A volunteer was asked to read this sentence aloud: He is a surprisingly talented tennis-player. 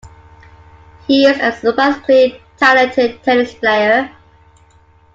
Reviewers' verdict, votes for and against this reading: accepted, 2, 0